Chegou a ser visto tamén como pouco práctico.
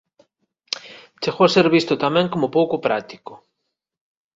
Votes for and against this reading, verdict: 2, 0, accepted